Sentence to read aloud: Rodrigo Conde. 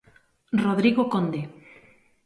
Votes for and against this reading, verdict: 2, 0, accepted